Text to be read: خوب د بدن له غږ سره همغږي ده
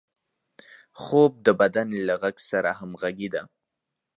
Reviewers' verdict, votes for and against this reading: accepted, 2, 0